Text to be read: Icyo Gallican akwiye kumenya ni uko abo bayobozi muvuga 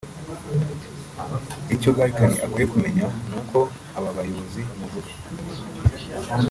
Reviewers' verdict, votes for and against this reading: rejected, 1, 2